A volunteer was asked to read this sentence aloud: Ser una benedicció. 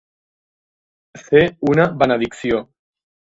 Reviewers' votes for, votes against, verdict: 2, 3, rejected